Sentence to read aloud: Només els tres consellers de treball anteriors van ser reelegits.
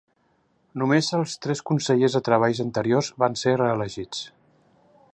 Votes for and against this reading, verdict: 1, 2, rejected